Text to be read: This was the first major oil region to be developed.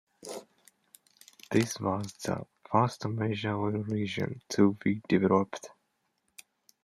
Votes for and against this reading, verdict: 2, 0, accepted